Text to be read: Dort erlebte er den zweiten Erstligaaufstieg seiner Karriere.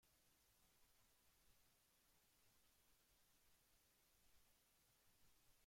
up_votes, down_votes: 0, 2